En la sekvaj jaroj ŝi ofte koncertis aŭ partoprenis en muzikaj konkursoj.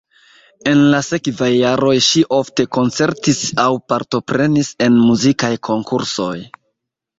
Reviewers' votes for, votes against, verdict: 2, 0, accepted